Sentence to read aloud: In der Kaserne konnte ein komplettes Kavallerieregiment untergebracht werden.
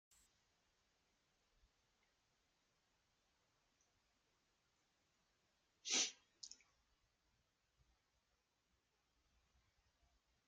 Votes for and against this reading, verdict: 0, 2, rejected